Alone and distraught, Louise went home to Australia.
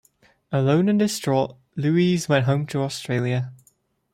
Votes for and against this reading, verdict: 2, 0, accepted